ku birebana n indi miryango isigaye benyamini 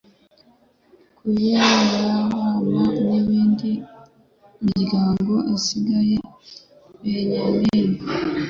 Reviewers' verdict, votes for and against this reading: rejected, 1, 2